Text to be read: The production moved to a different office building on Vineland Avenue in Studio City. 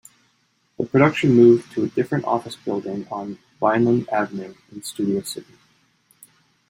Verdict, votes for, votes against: accepted, 2, 0